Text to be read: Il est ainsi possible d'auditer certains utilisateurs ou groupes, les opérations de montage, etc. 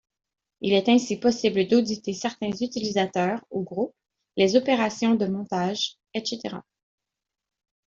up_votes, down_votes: 0, 2